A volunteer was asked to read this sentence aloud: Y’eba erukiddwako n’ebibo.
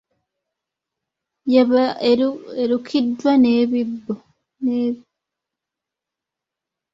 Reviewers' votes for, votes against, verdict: 0, 2, rejected